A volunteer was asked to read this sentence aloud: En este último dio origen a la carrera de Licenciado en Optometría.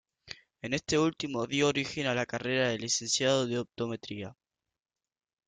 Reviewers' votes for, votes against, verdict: 0, 2, rejected